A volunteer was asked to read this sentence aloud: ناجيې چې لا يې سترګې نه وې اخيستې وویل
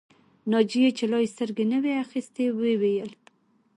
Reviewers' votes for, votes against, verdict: 2, 0, accepted